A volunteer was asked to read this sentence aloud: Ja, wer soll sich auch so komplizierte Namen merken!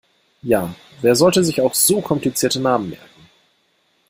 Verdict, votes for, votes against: rejected, 0, 2